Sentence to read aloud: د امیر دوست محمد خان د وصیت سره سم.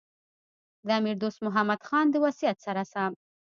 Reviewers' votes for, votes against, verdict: 2, 1, accepted